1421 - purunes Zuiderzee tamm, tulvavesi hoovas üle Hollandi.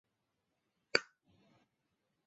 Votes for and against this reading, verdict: 0, 2, rejected